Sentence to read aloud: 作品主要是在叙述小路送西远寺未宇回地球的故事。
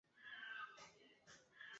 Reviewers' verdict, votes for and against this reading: rejected, 1, 3